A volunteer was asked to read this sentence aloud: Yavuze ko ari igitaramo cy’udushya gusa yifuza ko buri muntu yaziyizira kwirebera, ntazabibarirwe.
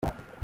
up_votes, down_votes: 0, 2